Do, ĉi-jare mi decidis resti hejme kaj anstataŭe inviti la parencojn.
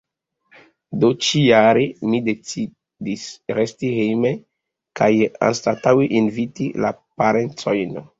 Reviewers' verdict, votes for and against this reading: accepted, 2, 1